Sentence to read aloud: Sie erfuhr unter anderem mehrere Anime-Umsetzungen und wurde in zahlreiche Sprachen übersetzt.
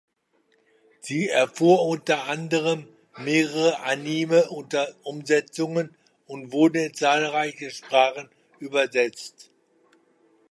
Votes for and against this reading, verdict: 0, 2, rejected